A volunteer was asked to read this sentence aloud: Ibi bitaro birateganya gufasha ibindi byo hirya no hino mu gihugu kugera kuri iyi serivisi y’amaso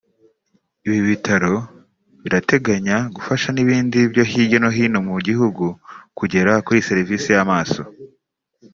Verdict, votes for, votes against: rejected, 1, 2